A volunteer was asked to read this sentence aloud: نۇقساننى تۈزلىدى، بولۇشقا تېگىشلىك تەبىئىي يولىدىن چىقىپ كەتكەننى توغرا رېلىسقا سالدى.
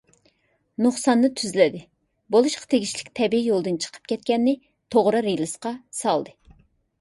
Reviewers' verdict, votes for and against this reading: accepted, 2, 0